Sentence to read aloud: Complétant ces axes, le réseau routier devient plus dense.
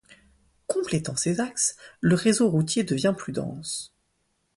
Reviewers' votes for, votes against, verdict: 2, 0, accepted